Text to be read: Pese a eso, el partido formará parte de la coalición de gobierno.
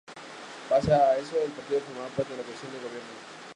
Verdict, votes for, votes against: rejected, 0, 2